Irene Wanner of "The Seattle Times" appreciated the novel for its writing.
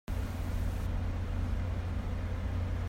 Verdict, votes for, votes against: rejected, 0, 2